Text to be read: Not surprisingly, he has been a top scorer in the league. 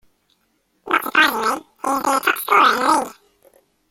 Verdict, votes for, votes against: rejected, 0, 2